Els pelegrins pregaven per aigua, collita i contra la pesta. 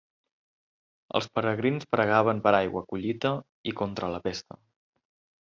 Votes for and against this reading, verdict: 0, 2, rejected